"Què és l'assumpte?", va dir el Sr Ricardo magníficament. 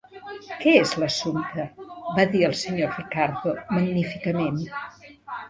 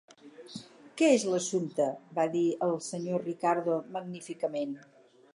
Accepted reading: second